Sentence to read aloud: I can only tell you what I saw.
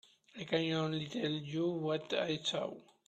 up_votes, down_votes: 1, 2